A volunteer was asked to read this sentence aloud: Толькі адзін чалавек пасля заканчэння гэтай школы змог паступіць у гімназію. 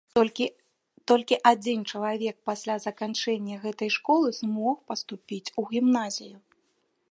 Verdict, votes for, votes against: rejected, 1, 2